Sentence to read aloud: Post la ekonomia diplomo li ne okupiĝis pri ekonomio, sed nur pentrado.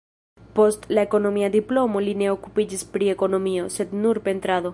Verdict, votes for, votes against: rejected, 1, 2